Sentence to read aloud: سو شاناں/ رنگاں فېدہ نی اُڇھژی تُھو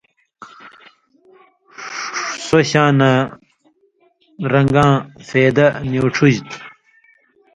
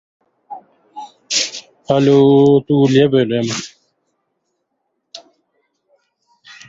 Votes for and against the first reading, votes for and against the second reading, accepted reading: 2, 0, 0, 2, first